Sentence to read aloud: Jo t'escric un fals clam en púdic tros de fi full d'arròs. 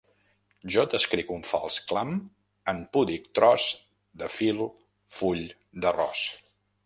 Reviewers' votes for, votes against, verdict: 1, 2, rejected